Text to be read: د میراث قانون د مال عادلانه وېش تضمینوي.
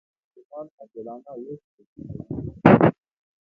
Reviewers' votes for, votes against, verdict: 0, 2, rejected